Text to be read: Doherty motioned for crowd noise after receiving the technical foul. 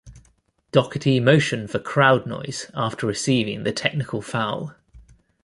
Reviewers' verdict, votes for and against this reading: accepted, 2, 0